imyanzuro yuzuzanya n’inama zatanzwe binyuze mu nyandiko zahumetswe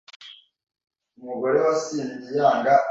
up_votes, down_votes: 0, 2